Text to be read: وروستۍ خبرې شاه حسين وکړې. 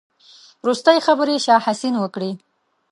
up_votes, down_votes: 3, 0